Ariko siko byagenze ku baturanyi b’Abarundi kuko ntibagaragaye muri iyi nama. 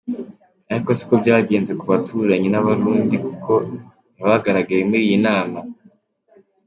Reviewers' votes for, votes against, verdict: 2, 0, accepted